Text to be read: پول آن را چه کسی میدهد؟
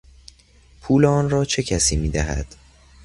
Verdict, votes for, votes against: accepted, 2, 0